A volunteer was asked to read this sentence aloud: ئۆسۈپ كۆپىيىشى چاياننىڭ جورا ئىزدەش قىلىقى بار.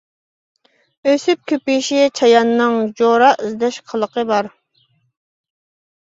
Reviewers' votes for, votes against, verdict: 2, 0, accepted